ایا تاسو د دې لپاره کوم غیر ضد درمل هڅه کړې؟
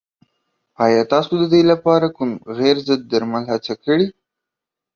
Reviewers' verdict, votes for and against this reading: accepted, 2, 0